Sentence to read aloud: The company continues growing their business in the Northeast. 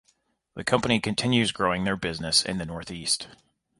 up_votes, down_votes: 2, 1